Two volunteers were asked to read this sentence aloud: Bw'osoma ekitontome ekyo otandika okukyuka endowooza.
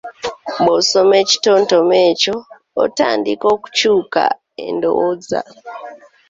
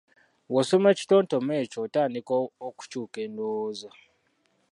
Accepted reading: first